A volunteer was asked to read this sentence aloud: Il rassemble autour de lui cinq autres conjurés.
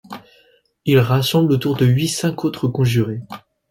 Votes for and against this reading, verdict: 2, 0, accepted